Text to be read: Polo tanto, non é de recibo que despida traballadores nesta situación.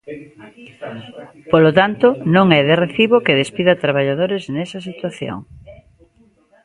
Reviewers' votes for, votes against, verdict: 0, 2, rejected